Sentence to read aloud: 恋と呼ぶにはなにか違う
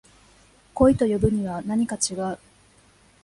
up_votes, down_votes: 2, 0